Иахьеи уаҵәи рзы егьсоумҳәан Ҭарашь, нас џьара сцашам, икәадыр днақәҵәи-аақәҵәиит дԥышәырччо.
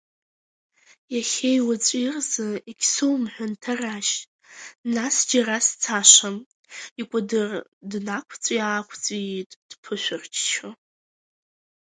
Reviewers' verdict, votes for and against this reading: accepted, 3, 0